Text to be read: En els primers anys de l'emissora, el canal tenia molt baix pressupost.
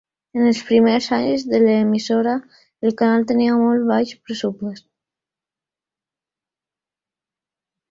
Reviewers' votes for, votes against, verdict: 1, 2, rejected